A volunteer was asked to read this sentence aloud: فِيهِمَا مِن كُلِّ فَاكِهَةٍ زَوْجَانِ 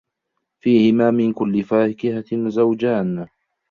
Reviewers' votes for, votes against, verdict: 2, 0, accepted